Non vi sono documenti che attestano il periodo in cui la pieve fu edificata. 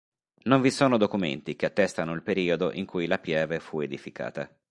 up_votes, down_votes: 4, 0